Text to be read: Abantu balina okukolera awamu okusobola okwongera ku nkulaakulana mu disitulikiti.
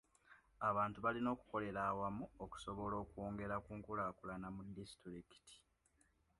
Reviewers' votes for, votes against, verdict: 2, 0, accepted